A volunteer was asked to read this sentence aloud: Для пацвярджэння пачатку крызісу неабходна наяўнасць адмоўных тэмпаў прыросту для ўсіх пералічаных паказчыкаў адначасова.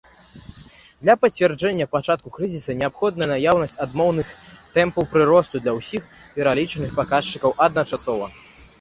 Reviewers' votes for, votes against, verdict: 2, 0, accepted